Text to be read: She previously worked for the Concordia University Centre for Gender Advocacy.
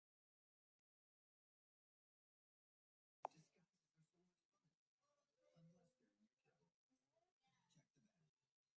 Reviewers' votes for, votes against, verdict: 0, 2, rejected